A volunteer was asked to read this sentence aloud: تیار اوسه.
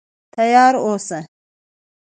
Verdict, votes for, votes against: accepted, 2, 0